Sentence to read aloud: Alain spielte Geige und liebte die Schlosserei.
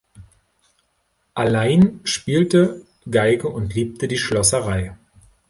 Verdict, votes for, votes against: rejected, 1, 2